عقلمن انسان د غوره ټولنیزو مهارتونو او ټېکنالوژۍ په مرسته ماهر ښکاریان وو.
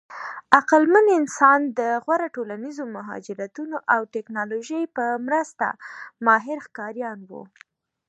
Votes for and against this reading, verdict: 1, 2, rejected